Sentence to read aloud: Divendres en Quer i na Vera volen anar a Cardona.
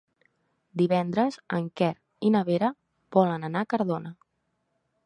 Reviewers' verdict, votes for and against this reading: accepted, 3, 0